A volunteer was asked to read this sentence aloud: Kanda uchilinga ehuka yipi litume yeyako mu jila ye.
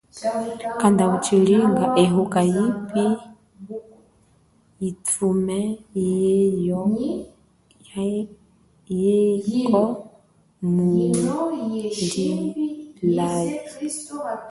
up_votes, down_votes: 1, 3